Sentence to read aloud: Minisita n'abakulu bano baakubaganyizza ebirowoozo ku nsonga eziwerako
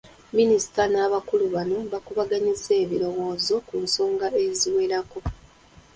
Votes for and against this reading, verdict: 2, 1, accepted